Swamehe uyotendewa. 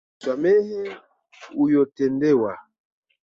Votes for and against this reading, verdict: 3, 2, accepted